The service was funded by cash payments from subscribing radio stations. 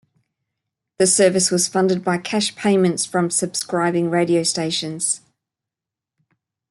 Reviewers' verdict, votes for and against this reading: accepted, 2, 0